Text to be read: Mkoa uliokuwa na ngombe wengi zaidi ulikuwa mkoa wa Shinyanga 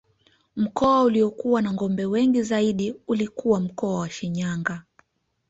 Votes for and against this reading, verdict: 2, 0, accepted